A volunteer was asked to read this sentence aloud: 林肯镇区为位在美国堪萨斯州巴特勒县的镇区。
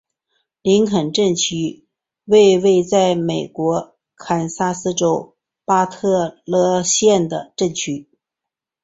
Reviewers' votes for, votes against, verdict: 2, 0, accepted